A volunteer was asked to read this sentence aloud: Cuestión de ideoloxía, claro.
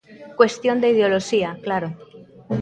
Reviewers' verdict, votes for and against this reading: rejected, 0, 2